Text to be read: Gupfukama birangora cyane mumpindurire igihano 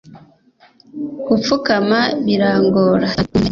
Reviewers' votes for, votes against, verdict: 1, 2, rejected